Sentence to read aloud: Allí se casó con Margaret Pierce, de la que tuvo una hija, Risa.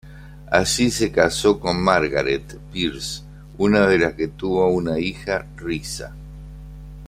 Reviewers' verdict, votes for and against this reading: rejected, 0, 2